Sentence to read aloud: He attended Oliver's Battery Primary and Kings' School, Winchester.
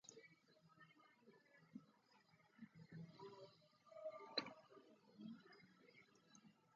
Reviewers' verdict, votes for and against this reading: rejected, 0, 2